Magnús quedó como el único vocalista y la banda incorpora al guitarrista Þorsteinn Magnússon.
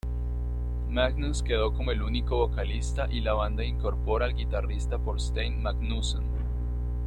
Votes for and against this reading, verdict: 2, 0, accepted